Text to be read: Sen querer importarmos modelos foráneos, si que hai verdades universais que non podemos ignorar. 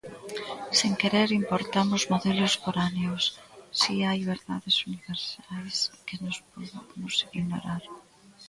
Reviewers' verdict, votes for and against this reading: rejected, 0, 2